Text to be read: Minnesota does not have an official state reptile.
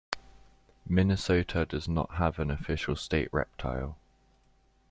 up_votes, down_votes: 2, 0